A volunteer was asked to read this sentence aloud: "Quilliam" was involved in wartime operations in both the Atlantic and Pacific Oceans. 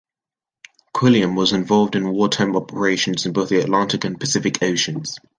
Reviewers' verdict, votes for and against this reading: rejected, 1, 2